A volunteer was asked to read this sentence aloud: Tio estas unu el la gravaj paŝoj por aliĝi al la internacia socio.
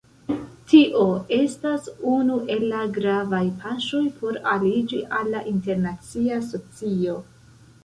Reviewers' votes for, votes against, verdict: 1, 2, rejected